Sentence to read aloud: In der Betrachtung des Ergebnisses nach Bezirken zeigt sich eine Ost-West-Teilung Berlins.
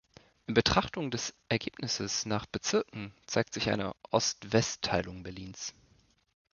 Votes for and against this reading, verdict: 0, 2, rejected